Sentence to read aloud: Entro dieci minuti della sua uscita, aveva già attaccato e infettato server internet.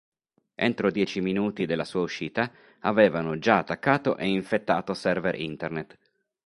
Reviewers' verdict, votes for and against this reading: rejected, 0, 2